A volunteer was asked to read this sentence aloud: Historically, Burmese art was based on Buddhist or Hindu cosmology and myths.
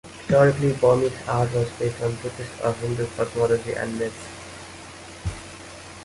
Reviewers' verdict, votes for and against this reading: rejected, 1, 2